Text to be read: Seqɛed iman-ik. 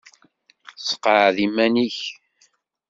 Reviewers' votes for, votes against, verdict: 2, 0, accepted